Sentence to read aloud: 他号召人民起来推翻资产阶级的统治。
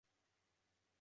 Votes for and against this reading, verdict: 1, 2, rejected